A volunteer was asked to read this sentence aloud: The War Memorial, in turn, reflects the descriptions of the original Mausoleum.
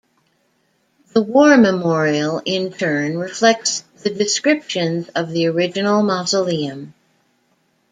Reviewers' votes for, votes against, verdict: 1, 2, rejected